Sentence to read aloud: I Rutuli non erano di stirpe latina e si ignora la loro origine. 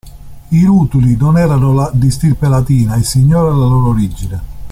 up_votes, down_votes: 0, 2